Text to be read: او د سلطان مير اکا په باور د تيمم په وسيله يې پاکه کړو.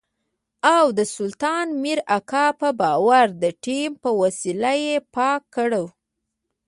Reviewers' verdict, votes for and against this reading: accepted, 2, 0